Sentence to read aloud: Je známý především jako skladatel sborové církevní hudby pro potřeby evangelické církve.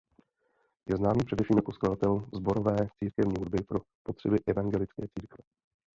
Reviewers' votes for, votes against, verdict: 0, 2, rejected